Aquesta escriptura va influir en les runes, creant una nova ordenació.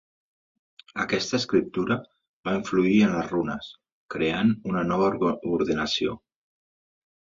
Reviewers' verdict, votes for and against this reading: rejected, 1, 2